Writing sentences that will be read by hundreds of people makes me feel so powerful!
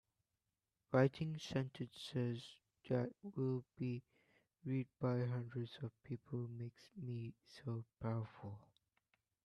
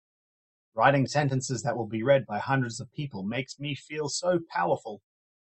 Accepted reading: second